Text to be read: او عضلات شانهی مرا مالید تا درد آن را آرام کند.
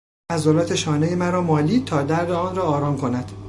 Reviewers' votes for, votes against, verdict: 1, 2, rejected